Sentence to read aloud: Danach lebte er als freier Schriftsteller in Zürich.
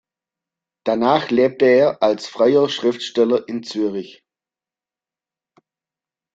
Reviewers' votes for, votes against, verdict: 1, 2, rejected